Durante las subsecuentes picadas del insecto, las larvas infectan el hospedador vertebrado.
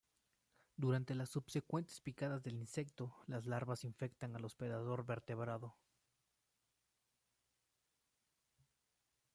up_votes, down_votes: 0, 2